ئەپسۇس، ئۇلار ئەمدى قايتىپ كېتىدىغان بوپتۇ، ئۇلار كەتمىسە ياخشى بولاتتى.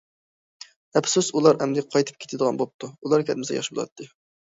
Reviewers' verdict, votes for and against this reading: accepted, 2, 0